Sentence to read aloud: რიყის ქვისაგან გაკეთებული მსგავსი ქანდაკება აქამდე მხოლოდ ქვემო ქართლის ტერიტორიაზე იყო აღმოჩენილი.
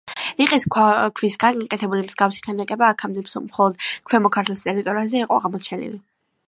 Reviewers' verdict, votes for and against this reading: accepted, 2, 0